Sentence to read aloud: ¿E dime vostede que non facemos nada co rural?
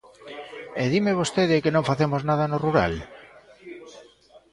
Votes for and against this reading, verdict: 1, 2, rejected